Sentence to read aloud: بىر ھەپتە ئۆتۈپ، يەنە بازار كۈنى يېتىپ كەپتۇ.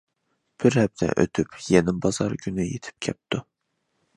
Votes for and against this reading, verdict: 2, 0, accepted